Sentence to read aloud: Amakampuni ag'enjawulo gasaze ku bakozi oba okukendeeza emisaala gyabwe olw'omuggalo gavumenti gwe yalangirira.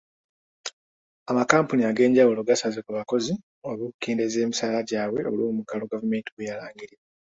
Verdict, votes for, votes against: accepted, 2, 1